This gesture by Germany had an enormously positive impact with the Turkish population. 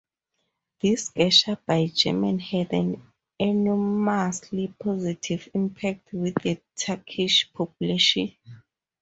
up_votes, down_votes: 0, 4